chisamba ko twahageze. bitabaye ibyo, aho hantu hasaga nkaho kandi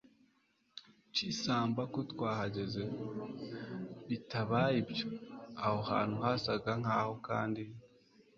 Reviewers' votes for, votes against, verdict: 2, 1, accepted